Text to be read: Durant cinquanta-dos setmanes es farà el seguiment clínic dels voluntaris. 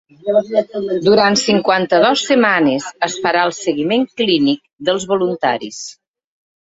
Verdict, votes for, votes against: rejected, 1, 2